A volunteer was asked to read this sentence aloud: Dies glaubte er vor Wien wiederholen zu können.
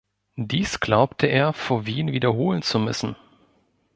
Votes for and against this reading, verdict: 0, 2, rejected